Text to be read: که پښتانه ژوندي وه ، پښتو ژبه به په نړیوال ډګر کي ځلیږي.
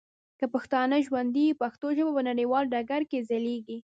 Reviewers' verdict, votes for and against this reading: rejected, 1, 2